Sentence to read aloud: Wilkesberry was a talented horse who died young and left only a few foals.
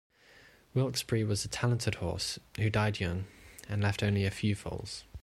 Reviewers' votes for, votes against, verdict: 2, 0, accepted